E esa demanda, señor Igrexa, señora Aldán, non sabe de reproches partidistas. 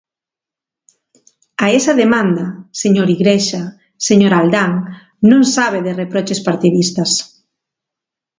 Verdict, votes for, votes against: rejected, 1, 2